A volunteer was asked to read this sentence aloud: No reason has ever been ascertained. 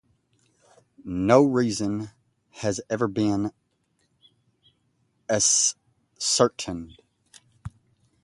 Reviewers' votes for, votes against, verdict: 0, 2, rejected